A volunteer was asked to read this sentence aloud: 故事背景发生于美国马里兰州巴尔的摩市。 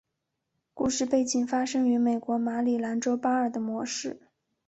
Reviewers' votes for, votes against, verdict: 4, 0, accepted